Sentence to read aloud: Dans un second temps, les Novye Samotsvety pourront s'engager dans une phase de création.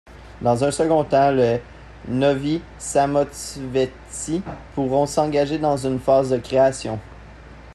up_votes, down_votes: 0, 2